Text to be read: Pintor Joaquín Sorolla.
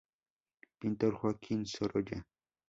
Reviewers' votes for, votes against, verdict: 2, 0, accepted